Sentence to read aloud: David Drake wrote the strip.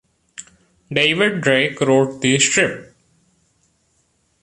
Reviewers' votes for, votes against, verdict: 2, 0, accepted